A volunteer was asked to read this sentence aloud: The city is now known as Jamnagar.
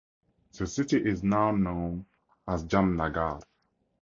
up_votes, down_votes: 4, 0